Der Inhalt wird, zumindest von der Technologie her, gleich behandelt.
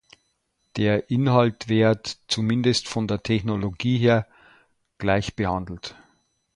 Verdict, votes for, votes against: accepted, 2, 0